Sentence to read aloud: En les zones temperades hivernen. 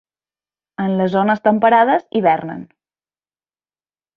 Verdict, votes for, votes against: accepted, 4, 0